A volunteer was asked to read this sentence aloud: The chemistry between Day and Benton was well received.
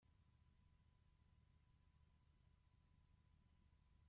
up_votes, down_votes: 0, 2